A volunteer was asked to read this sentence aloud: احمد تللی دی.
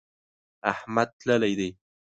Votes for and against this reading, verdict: 2, 0, accepted